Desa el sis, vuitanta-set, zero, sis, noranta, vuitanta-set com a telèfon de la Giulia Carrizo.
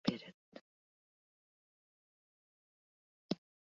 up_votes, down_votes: 0, 2